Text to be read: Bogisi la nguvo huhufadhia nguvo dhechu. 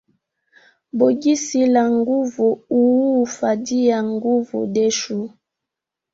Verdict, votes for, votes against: rejected, 1, 2